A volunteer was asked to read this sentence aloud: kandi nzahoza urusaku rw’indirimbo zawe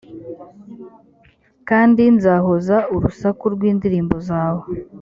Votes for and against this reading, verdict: 3, 0, accepted